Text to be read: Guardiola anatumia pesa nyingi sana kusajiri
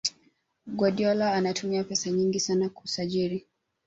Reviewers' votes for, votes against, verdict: 0, 2, rejected